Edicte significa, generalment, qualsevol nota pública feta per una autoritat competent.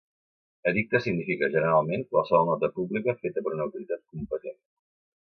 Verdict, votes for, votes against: accepted, 2, 0